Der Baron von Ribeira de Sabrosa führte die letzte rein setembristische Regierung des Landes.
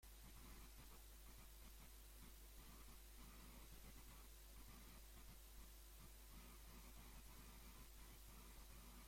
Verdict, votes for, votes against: rejected, 0, 2